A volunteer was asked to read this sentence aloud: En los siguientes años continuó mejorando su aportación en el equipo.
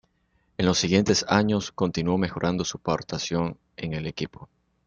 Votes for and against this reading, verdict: 0, 2, rejected